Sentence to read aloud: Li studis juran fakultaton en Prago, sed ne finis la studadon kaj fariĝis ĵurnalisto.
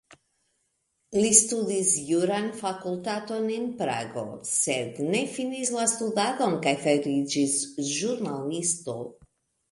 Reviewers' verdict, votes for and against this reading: rejected, 1, 2